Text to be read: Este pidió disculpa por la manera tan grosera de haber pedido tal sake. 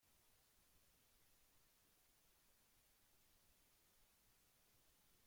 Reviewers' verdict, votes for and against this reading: rejected, 0, 2